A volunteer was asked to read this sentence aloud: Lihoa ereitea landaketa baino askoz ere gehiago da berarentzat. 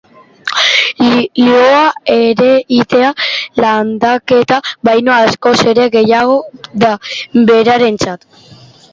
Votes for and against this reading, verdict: 0, 2, rejected